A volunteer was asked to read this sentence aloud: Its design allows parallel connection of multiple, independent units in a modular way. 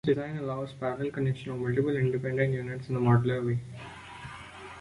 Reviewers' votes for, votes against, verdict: 2, 1, accepted